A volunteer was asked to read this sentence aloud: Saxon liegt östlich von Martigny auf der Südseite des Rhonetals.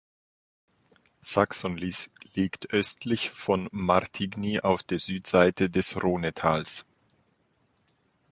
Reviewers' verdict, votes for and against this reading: rejected, 0, 3